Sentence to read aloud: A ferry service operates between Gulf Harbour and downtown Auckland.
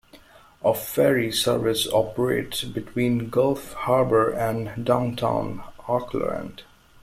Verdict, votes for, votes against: accepted, 2, 0